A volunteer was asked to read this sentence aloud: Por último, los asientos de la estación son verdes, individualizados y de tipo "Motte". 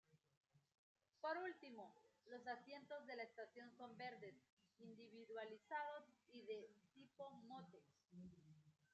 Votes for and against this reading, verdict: 0, 2, rejected